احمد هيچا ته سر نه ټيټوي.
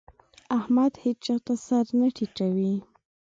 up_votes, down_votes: 2, 0